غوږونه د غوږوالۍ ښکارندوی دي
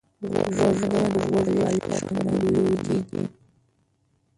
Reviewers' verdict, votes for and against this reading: rejected, 0, 2